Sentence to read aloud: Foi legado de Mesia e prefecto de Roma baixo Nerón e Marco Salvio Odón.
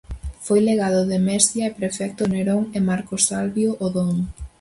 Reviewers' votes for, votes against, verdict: 0, 4, rejected